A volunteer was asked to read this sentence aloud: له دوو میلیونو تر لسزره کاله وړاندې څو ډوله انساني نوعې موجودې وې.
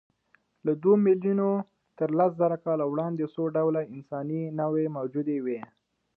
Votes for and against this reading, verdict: 2, 1, accepted